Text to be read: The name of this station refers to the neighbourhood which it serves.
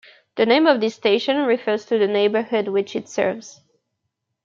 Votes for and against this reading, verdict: 2, 0, accepted